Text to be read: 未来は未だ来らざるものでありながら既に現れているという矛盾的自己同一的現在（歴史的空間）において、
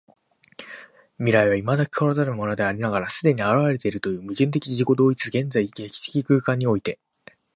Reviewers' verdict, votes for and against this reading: accepted, 3, 2